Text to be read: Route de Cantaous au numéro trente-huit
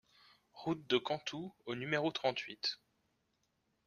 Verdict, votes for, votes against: rejected, 0, 2